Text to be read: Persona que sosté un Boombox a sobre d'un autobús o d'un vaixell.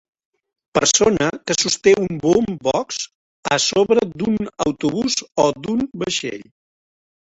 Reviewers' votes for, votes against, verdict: 0, 2, rejected